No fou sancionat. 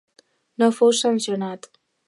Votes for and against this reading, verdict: 2, 0, accepted